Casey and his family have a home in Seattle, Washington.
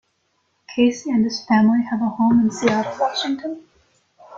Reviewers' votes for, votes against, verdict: 1, 2, rejected